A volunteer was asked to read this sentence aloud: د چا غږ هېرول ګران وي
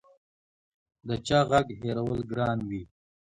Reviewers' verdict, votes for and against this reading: accepted, 2, 0